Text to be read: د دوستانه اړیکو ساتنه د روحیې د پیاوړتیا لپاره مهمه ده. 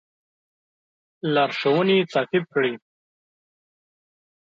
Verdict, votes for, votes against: rejected, 1, 2